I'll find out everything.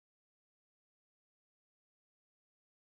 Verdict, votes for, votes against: rejected, 0, 2